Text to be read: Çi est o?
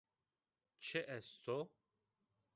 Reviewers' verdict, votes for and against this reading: accepted, 2, 1